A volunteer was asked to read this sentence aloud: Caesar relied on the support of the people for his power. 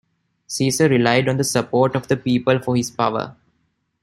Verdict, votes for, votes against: accepted, 2, 0